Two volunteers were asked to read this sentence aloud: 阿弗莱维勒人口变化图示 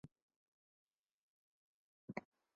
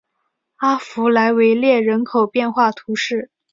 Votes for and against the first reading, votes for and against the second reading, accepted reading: 0, 2, 2, 0, second